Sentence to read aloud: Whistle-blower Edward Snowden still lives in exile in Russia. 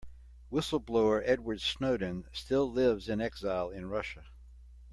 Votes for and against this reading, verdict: 2, 0, accepted